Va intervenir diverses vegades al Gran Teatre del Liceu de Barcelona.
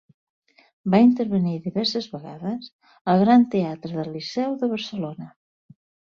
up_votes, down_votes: 2, 0